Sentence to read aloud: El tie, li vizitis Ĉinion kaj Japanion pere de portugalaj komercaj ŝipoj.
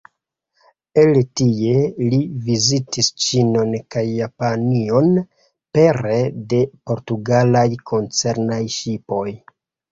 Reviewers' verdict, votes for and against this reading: rejected, 1, 2